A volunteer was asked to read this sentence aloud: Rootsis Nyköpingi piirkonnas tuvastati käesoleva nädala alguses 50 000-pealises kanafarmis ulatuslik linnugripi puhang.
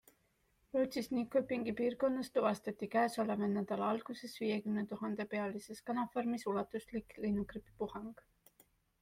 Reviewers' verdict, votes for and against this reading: rejected, 0, 2